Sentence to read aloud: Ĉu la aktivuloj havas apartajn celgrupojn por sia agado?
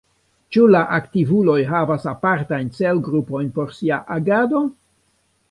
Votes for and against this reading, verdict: 1, 2, rejected